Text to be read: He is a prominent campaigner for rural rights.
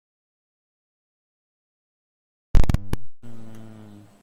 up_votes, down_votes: 0, 2